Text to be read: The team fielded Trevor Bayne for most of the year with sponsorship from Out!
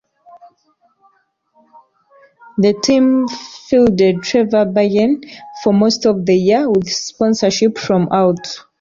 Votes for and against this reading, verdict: 1, 2, rejected